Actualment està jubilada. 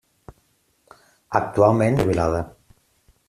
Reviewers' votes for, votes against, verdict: 0, 2, rejected